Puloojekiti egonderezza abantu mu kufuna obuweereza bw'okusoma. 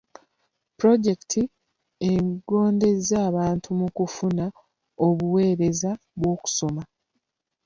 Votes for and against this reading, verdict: 0, 2, rejected